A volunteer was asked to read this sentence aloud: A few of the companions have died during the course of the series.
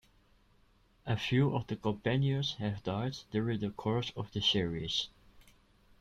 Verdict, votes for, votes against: rejected, 1, 2